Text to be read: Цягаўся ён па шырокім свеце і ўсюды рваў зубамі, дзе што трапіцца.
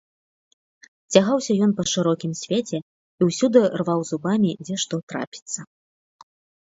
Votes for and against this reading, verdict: 2, 0, accepted